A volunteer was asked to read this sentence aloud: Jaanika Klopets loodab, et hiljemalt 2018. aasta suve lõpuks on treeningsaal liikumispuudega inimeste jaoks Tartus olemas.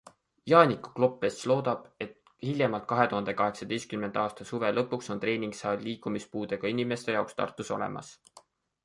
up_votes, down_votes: 0, 2